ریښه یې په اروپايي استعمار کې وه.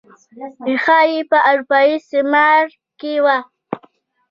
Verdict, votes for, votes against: rejected, 1, 2